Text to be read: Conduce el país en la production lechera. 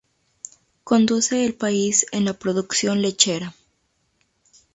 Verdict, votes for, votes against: accepted, 2, 0